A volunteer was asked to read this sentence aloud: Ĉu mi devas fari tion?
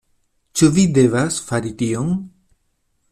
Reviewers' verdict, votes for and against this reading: rejected, 0, 2